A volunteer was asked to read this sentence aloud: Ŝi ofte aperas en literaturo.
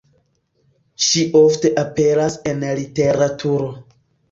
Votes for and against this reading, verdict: 2, 0, accepted